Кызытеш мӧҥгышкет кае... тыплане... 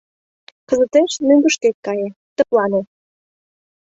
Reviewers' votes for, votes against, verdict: 2, 0, accepted